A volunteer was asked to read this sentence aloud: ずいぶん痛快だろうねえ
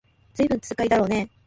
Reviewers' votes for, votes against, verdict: 0, 2, rejected